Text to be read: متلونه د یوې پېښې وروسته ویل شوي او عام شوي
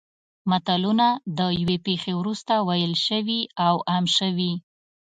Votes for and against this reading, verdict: 2, 0, accepted